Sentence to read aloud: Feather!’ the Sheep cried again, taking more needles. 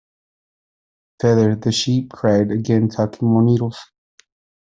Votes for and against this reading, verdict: 0, 2, rejected